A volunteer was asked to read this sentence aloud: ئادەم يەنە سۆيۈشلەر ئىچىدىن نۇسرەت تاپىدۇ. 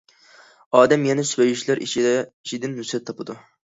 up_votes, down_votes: 0, 2